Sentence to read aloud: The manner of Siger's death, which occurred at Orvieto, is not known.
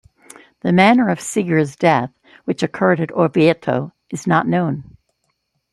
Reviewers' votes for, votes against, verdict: 2, 0, accepted